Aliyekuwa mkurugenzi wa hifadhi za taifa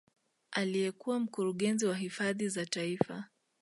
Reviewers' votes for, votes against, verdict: 2, 0, accepted